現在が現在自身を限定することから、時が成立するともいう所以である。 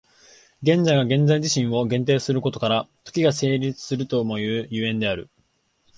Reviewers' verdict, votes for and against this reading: accepted, 2, 0